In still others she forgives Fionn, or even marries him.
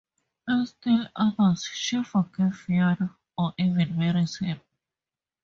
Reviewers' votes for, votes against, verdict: 2, 0, accepted